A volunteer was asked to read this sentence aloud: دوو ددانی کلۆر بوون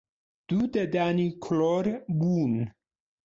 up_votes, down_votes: 1, 2